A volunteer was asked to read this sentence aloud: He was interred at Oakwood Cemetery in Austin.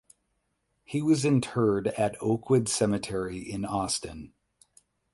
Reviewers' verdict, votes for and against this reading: accepted, 8, 0